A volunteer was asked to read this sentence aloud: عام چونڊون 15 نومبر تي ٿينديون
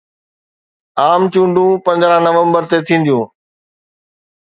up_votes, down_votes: 0, 2